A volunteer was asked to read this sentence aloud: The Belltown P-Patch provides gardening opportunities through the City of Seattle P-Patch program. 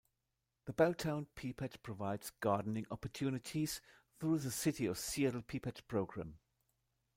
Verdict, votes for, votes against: rejected, 1, 2